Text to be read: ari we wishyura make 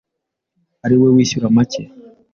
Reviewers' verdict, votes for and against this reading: accepted, 2, 0